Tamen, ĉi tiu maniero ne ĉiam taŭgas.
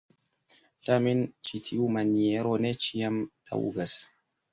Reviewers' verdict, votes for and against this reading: accepted, 2, 1